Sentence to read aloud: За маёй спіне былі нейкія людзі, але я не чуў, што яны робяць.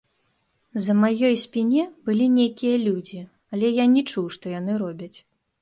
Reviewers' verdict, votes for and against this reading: rejected, 1, 2